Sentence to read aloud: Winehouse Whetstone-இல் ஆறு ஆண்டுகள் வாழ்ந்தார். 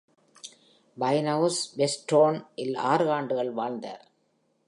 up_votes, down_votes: 2, 0